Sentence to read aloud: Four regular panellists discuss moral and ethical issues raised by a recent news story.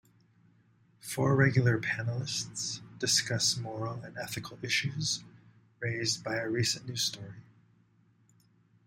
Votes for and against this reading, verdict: 2, 0, accepted